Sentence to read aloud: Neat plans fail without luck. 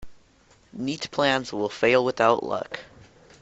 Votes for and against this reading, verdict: 0, 2, rejected